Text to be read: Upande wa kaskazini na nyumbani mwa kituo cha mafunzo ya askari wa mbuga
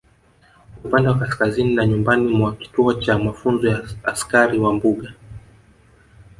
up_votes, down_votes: 2, 1